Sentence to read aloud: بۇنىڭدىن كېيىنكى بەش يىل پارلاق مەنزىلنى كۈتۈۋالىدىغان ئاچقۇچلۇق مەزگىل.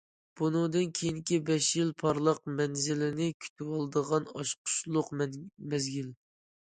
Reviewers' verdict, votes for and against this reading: rejected, 1, 2